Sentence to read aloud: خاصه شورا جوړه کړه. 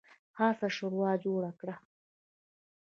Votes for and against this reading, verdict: 1, 2, rejected